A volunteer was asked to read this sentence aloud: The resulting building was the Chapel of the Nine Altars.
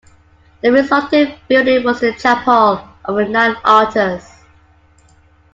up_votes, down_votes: 2, 1